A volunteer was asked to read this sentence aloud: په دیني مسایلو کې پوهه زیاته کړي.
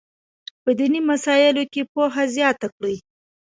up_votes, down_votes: 2, 0